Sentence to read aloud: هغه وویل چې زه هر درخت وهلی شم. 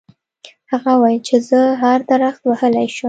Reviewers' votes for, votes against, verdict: 0, 2, rejected